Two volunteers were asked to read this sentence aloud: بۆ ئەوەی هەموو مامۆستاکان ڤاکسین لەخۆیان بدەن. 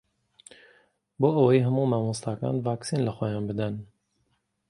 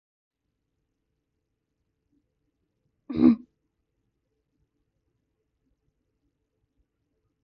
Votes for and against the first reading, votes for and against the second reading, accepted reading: 2, 0, 0, 2, first